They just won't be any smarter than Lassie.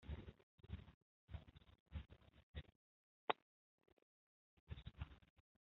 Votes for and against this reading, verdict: 0, 2, rejected